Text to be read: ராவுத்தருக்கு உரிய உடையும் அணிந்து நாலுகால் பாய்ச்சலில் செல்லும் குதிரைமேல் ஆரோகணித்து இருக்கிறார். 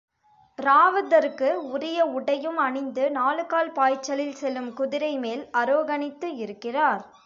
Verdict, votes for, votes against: rejected, 0, 2